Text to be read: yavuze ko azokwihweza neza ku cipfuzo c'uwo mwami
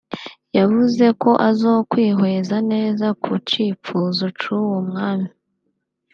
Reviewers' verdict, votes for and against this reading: accepted, 2, 1